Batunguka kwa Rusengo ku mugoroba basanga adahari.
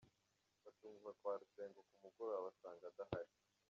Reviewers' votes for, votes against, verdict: 0, 2, rejected